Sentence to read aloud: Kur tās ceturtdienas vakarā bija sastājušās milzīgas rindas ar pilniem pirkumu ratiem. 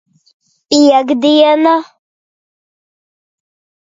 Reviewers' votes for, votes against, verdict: 0, 2, rejected